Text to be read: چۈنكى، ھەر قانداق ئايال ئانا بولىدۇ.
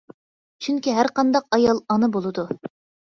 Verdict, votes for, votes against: accepted, 2, 0